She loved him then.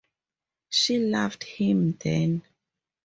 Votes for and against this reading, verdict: 4, 0, accepted